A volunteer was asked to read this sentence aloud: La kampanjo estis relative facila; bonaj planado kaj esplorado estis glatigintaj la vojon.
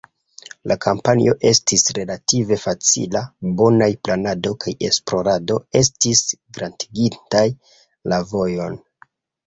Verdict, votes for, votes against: accepted, 2, 1